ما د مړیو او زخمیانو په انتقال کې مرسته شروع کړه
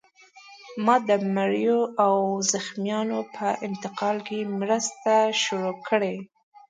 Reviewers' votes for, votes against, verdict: 1, 2, rejected